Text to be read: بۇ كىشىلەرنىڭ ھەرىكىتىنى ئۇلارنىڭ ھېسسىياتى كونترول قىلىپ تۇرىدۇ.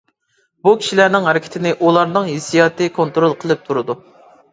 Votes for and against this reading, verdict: 2, 0, accepted